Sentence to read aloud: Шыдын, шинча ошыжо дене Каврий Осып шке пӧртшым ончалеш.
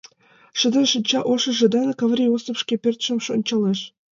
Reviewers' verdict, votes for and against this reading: accepted, 2, 1